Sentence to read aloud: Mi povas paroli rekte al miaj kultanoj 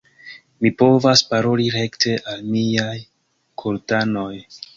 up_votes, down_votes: 0, 2